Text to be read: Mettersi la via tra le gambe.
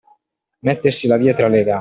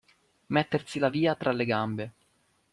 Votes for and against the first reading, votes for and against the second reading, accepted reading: 0, 2, 2, 0, second